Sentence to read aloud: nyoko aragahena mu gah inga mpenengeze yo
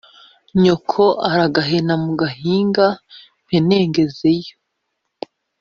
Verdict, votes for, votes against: accepted, 2, 0